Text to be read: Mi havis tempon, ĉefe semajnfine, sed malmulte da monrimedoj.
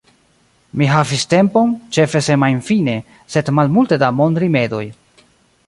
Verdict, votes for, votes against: rejected, 0, 2